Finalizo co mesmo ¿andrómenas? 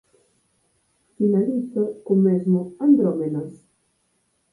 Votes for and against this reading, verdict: 8, 6, accepted